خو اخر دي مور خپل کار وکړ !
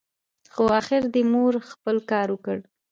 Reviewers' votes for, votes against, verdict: 2, 0, accepted